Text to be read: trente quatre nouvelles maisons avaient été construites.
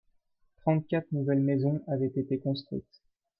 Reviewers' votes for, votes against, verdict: 2, 0, accepted